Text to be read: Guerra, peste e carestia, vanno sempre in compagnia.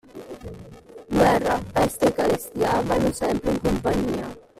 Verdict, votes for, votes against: rejected, 0, 2